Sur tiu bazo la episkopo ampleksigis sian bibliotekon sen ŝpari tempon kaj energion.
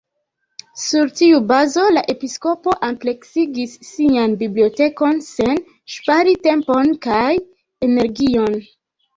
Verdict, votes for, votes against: rejected, 1, 2